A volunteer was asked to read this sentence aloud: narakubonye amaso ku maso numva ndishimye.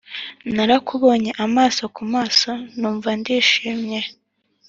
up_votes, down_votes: 2, 0